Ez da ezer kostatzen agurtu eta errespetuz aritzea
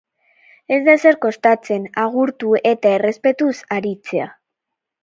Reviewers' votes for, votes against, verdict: 4, 0, accepted